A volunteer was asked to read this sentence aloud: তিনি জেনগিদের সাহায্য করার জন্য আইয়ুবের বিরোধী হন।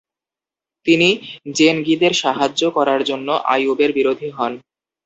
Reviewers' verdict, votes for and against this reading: rejected, 2, 2